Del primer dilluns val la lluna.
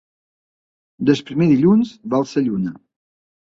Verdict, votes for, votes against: accepted, 2, 0